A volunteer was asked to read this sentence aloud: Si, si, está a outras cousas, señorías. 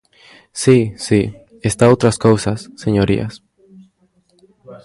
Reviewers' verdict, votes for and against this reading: rejected, 0, 2